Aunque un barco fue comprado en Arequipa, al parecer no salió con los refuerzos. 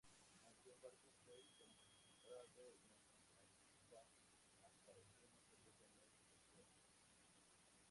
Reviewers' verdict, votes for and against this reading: rejected, 0, 2